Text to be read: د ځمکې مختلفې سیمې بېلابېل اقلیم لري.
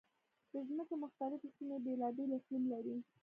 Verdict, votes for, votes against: rejected, 1, 3